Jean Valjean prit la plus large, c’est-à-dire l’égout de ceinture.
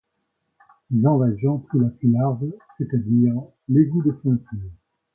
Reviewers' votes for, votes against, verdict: 2, 0, accepted